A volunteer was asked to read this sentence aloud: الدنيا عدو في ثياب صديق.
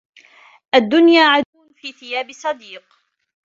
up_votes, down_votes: 0, 2